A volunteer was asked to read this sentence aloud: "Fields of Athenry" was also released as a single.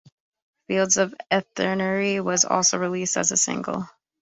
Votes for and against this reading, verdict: 2, 0, accepted